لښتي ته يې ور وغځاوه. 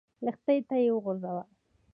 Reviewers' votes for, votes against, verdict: 1, 2, rejected